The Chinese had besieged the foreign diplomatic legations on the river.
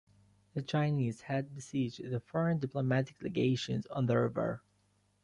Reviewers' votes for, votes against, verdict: 2, 1, accepted